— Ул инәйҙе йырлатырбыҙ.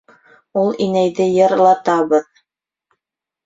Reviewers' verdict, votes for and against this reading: rejected, 1, 2